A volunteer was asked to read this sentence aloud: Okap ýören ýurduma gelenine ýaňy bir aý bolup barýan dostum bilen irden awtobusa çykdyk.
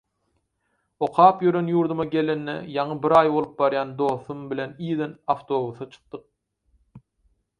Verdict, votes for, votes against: accepted, 4, 0